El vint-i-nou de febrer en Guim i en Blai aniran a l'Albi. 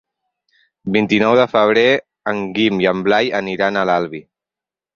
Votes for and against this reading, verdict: 0, 4, rejected